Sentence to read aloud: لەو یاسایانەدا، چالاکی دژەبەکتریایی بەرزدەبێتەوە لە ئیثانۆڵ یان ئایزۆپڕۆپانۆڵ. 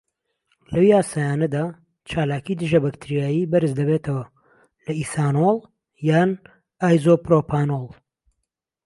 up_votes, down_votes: 2, 0